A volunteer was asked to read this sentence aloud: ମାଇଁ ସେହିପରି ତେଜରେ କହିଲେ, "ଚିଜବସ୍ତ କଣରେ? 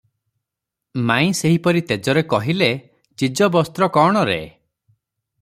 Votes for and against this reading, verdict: 0, 3, rejected